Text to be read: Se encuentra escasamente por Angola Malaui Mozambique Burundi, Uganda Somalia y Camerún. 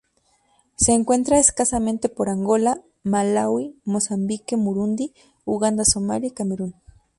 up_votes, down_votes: 2, 0